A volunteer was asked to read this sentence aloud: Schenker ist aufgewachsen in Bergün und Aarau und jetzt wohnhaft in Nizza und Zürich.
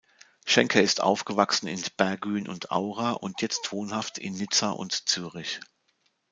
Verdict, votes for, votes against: rejected, 1, 2